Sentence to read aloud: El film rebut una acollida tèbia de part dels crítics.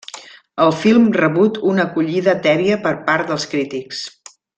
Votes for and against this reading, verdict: 1, 2, rejected